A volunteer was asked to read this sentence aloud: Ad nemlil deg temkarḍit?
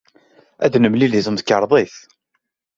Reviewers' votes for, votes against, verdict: 2, 0, accepted